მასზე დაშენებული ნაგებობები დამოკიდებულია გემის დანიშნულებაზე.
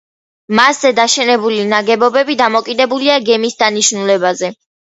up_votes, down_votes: 2, 0